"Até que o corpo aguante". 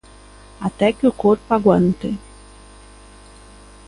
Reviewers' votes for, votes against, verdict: 2, 0, accepted